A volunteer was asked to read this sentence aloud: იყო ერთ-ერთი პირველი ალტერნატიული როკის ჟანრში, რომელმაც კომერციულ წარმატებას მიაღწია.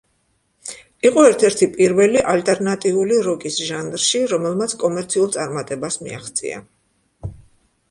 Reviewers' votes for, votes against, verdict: 2, 0, accepted